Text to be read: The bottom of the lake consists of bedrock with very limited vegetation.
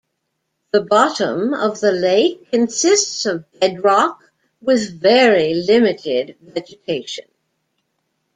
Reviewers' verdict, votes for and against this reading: rejected, 1, 2